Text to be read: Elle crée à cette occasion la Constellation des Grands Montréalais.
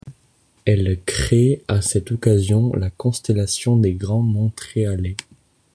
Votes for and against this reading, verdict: 1, 2, rejected